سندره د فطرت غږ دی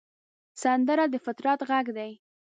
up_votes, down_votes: 3, 0